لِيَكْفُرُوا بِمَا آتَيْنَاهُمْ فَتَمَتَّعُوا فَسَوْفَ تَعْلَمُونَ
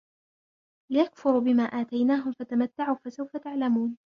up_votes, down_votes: 2, 1